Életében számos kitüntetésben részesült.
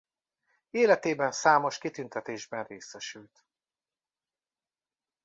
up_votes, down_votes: 2, 0